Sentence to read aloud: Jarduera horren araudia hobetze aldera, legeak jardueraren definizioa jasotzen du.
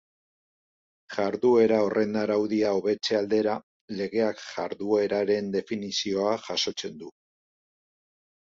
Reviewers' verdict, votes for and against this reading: rejected, 0, 2